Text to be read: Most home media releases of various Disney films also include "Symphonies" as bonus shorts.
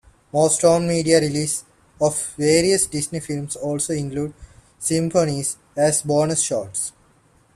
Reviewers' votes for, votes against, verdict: 2, 0, accepted